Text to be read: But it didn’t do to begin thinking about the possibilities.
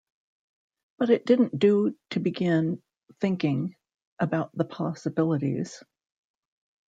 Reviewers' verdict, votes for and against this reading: accepted, 2, 0